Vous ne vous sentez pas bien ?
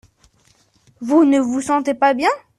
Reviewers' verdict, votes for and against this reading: accepted, 2, 0